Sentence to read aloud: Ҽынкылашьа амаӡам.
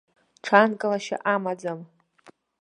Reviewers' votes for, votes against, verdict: 1, 2, rejected